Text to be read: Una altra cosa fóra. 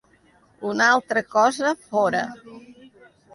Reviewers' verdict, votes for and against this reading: accepted, 2, 0